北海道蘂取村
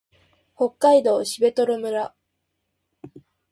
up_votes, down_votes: 4, 0